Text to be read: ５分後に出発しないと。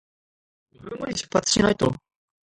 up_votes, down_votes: 0, 2